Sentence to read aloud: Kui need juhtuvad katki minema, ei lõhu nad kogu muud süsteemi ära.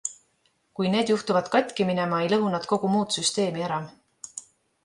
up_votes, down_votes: 2, 0